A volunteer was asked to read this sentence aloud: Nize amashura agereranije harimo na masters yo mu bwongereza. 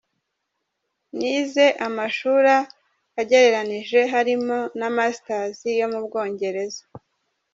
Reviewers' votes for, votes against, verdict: 1, 2, rejected